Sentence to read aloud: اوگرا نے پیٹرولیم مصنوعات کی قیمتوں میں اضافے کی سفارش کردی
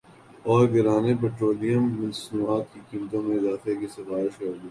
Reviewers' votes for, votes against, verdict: 3, 3, rejected